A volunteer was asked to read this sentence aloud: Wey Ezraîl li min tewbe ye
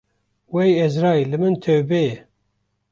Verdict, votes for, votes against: accepted, 2, 0